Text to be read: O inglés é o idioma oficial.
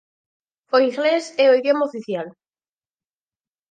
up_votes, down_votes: 4, 2